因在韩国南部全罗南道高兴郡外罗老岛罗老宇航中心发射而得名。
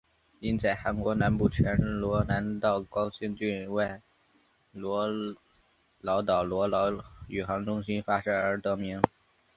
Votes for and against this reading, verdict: 2, 0, accepted